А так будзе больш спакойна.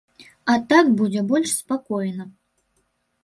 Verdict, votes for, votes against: accepted, 2, 0